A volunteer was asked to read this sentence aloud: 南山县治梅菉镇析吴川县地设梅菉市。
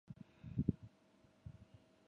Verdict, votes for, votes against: rejected, 0, 2